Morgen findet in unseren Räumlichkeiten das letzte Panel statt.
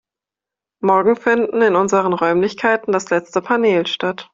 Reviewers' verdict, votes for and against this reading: rejected, 0, 2